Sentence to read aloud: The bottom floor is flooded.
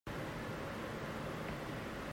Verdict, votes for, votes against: rejected, 0, 2